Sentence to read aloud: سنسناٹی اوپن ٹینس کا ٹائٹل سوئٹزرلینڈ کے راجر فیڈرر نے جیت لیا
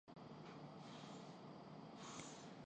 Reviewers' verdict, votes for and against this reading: rejected, 0, 4